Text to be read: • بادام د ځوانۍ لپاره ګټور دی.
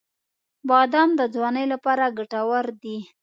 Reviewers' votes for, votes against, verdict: 2, 0, accepted